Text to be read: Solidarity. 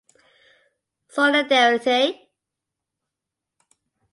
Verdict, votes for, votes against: accepted, 2, 1